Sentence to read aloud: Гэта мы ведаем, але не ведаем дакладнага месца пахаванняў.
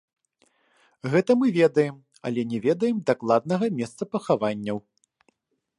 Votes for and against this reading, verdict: 2, 1, accepted